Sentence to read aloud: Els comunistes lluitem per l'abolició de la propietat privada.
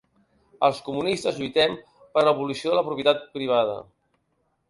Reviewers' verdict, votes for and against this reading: accepted, 4, 0